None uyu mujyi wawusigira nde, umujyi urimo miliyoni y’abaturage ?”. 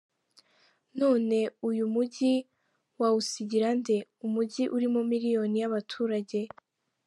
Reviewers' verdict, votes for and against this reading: accepted, 2, 0